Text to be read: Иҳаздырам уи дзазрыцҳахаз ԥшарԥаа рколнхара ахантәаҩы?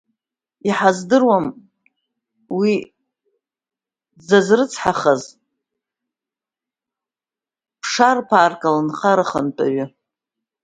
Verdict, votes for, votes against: rejected, 0, 2